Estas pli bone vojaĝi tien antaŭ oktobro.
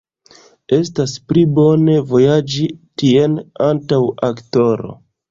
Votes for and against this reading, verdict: 1, 2, rejected